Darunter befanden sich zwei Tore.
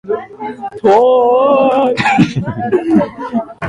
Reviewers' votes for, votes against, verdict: 0, 2, rejected